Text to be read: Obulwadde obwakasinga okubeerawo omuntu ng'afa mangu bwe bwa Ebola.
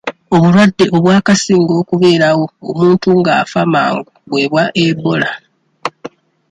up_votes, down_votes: 2, 0